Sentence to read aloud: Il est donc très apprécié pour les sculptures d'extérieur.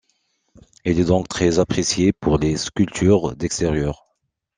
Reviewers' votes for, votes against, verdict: 2, 0, accepted